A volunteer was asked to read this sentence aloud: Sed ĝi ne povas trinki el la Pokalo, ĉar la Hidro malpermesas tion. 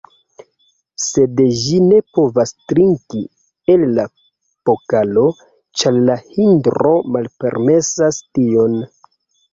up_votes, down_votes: 0, 2